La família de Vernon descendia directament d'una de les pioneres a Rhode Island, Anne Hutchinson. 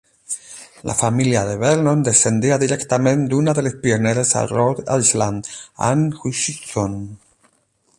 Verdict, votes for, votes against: rejected, 4, 8